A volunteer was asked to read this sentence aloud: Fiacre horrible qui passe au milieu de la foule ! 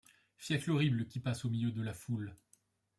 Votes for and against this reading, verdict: 1, 2, rejected